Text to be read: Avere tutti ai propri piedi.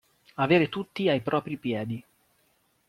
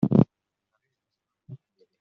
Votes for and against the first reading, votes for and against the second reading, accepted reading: 2, 0, 0, 2, first